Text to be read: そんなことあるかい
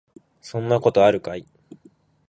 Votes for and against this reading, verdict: 2, 0, accepted